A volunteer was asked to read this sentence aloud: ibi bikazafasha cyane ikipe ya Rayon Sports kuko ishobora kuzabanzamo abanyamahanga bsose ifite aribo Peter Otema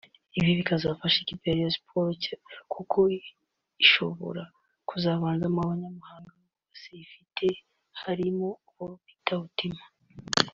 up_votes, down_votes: 1, 2